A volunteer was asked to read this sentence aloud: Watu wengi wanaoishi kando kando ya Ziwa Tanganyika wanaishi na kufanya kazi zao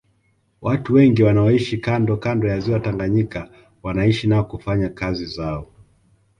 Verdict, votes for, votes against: accepted, 2, 0